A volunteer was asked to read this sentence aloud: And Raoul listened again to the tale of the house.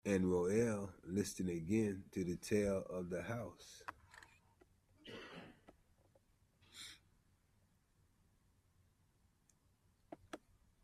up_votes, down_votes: 0, 2